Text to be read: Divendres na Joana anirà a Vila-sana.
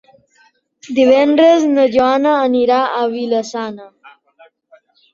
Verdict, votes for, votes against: accepted, 3, 0